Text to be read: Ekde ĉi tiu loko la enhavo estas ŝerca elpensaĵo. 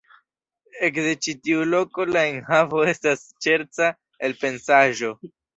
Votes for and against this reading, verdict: 1, 2, rejected